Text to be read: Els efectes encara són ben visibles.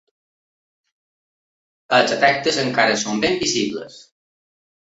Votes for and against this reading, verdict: 2, 1, accepted